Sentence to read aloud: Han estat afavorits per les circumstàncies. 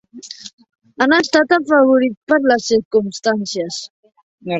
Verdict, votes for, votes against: rejected, 1, 2